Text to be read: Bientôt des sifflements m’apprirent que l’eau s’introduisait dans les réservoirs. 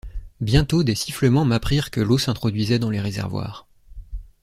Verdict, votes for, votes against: accepted, 2, 0